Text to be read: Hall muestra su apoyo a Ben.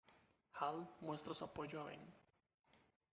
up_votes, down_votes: 0, 2